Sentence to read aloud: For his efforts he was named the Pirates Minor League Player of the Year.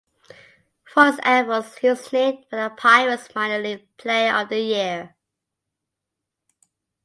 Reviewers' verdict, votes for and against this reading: rejected, 0, 2